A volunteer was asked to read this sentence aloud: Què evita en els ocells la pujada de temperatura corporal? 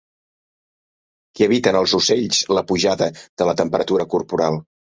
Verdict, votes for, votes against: rejected, 1, 2